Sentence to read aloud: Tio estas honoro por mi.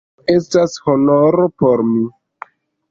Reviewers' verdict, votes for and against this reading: accepted, 2, 1